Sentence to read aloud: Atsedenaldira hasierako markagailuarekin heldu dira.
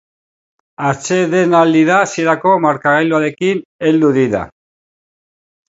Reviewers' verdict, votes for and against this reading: accepted, 3, 2